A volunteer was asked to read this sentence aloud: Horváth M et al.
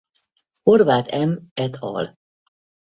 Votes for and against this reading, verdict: 0, 2, rejected